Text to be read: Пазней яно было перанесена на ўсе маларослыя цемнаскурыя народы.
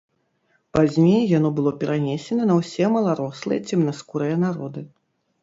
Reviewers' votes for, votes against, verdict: 2, 0, accepted